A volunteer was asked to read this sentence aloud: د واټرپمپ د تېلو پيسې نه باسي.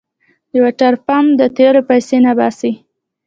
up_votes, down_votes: 2, 0